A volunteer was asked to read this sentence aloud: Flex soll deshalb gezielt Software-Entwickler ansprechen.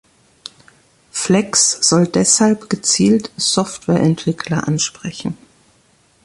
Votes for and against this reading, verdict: 2, 0, accepted